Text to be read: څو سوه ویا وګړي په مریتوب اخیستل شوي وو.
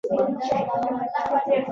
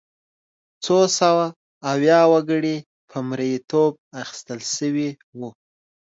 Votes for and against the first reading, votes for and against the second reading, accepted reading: 0, 2, 2, 0, second